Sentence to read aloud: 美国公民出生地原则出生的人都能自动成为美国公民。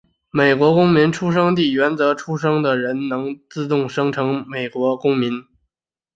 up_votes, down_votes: 4, 3